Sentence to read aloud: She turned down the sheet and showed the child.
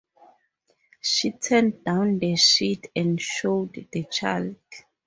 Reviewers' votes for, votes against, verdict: 4, 0, accepted